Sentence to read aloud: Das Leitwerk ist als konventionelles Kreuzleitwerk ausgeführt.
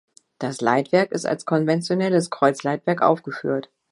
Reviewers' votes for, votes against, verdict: 0, 2, rejected